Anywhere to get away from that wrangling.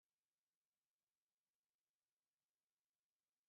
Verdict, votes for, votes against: rejected, 0, 2